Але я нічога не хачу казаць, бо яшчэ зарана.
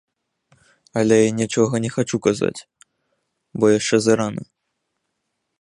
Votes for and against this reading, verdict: 2, 0, accepted